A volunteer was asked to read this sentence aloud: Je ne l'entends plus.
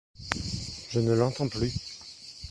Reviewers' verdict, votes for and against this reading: accepted, 2, 0